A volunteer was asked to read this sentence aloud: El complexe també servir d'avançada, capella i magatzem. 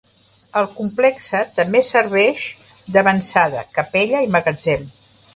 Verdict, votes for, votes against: rejected, 1, 2